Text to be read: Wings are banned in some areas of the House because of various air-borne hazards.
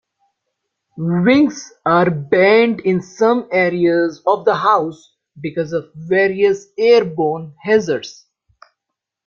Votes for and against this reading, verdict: 1, 2, rejected